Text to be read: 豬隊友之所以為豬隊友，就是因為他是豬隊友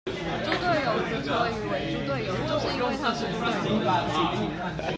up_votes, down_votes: 0, 2